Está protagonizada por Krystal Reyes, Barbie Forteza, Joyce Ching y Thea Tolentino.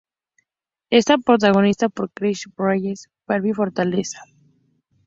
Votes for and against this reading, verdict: 2, 2, rejected